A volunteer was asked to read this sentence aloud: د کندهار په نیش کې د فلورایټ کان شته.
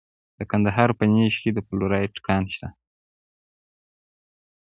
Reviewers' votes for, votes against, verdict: 2, 1, accepted